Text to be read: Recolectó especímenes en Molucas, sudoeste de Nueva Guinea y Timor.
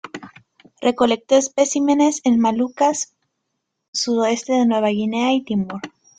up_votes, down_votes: 0, 2